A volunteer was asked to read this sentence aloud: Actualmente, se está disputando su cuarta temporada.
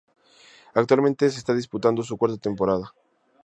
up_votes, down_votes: 2, 0